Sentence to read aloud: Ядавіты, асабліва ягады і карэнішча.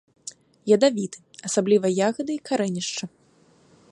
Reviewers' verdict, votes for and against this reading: accepted, 2, 0